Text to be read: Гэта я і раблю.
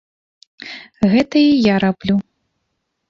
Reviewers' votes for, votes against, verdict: 0, 2, rejected